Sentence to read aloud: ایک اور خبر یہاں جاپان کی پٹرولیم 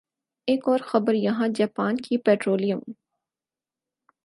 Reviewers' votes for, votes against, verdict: 4, 0, accepted